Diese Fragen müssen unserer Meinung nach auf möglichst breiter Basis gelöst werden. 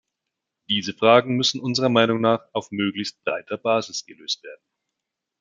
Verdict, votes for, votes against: accepted, 2, 0